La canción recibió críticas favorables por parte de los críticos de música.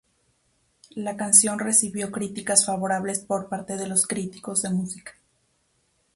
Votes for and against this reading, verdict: 2, 0, accepted